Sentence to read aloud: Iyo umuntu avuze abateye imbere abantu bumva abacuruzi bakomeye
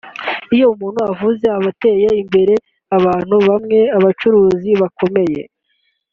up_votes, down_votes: 0, 2